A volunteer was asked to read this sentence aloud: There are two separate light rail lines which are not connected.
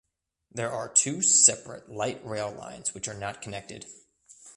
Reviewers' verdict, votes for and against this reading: accepted, 2, 0